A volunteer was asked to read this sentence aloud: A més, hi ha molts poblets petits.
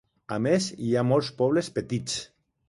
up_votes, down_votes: 2, 1